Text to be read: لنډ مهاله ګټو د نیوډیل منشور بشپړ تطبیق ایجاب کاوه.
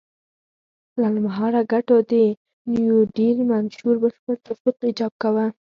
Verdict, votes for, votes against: accepted, 4, 0